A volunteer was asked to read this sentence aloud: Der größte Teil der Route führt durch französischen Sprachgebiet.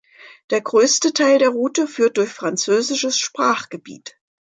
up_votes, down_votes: 0, 3